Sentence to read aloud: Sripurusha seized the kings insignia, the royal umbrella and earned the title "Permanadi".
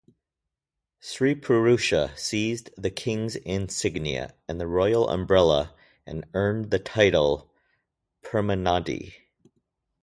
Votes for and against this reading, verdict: 2, 2, rejected